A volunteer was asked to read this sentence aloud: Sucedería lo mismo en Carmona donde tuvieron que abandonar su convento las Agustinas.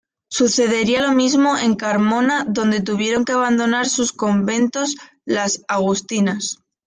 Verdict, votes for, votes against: rejected, 1, 2